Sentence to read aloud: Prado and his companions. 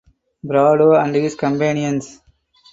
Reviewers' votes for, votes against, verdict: 4, 2, accepted